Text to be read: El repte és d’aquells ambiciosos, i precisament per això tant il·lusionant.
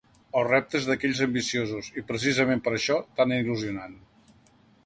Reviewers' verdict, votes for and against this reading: accepted, 3, 0